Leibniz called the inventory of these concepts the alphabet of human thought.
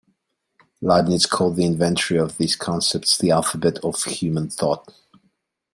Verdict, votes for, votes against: accepted, 2, 1